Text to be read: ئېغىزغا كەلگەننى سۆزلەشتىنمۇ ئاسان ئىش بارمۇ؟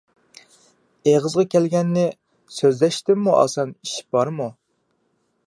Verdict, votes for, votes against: accepted, 2, 0